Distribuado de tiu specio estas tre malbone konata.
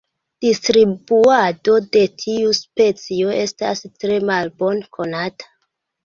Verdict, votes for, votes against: rejected, 1, 2